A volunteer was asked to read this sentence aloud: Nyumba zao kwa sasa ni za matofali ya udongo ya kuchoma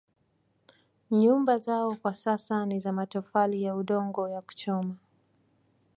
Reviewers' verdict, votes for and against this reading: accepted, 2, 1